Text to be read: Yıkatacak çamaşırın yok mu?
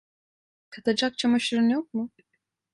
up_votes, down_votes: 1, 2